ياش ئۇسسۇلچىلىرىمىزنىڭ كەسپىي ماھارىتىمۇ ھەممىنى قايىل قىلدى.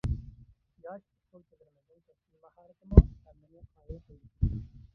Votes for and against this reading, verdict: 0, 2, rejected